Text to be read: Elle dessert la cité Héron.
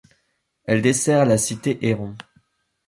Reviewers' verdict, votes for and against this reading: accepted, 2, 0